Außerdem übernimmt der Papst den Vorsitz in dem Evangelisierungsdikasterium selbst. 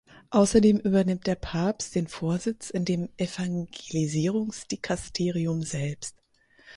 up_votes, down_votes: 2, 4